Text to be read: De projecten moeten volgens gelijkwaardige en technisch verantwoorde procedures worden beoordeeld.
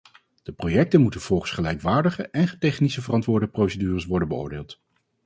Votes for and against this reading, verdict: 2, 2, rejected